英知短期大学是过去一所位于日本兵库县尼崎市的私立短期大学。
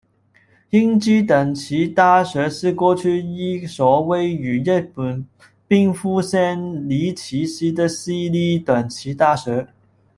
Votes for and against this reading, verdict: 1, 2, rejected